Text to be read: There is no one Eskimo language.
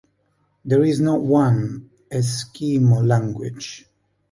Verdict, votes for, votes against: rejected, 2, 3